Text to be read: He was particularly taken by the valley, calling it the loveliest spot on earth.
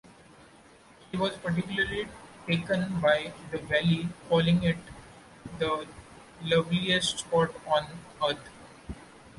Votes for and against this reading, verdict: 0, 2, rejected